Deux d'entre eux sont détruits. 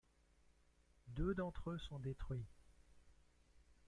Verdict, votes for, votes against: accepted, 2, 0